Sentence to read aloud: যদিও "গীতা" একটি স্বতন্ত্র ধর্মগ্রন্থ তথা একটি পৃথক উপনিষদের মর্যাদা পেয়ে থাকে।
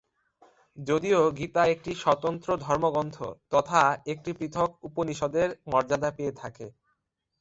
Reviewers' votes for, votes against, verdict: 2, 1, accepted